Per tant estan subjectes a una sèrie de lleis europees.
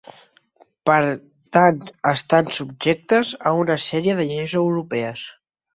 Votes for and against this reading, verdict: 2, 0, accepted